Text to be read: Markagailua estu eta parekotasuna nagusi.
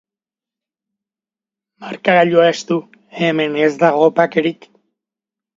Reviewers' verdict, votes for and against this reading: rejected, 0, 3